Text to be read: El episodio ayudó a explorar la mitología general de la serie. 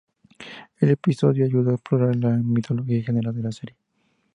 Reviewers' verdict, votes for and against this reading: rejected, 0, 2